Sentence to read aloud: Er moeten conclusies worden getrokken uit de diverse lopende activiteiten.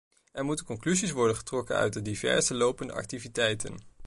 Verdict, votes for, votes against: accepted, 2, 0